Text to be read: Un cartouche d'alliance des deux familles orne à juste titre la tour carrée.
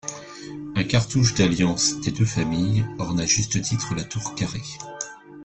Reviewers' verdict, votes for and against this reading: accepted, 2, 0